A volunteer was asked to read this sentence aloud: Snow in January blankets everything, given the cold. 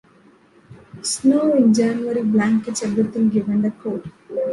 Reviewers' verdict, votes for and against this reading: accepted, 3, 1